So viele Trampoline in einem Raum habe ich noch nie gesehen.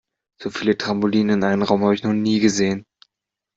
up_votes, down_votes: 2, 0